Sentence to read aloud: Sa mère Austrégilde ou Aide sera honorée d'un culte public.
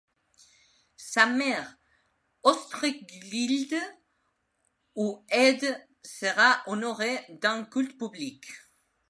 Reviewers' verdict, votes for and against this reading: accepted, 2, 0